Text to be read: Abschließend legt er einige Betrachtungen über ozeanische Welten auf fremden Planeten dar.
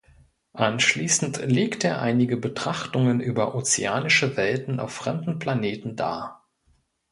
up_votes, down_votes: 1, 2